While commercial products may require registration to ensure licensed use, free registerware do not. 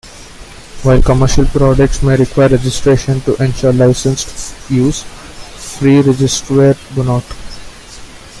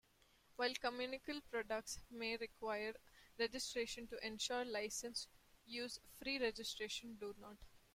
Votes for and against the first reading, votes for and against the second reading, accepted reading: 2, 1, 0, 2, first